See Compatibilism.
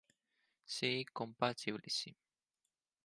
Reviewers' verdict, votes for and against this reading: rejected, 2, 4